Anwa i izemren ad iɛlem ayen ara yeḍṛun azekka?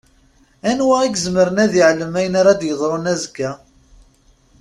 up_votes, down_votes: 2, 0